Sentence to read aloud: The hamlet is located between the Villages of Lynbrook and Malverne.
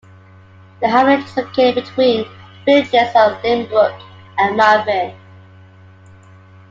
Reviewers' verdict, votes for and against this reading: accepted, 2, 0